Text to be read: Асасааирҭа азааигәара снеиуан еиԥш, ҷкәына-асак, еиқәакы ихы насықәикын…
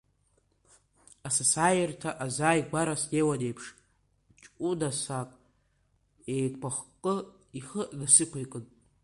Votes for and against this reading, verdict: 2, 3, rejected